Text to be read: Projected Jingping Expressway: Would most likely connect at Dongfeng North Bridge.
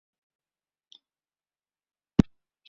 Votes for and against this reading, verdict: 0, 2, rejected